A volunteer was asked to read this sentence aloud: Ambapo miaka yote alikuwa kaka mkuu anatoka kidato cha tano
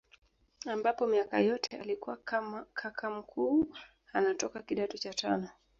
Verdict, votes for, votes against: rejected, 0, 2